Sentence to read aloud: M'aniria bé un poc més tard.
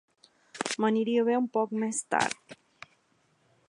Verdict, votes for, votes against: accepted, 3, 0